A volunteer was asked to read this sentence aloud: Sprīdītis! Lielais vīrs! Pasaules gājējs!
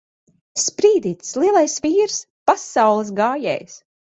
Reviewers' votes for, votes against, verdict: 2, 0, accepted